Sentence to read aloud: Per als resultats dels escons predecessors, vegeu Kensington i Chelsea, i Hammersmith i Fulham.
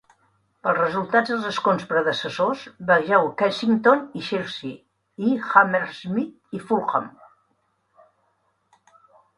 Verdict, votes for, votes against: rejected, 0, 2